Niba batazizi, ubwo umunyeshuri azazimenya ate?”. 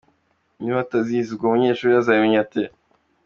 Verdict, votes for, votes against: accepted, 2, 1